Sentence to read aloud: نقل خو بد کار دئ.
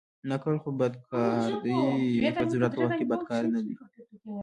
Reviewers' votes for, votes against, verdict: 1, 2, rejected